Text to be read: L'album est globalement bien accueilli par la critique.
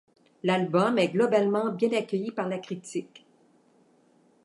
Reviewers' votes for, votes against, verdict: 2, 0, accepted